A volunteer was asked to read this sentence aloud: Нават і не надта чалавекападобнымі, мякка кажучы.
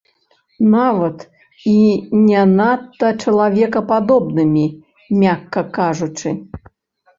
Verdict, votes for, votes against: rejected, 0, 3